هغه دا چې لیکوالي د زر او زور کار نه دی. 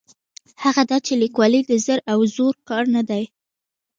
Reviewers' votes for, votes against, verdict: 2, 0, accepted